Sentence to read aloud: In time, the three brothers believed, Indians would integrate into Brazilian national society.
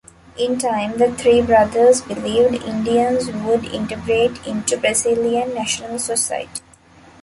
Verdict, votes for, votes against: accepted, 2, 0